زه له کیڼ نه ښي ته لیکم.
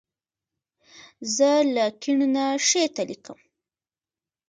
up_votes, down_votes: 2, 3